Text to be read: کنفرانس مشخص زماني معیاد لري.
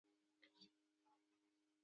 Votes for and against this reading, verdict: 1, 2, rejected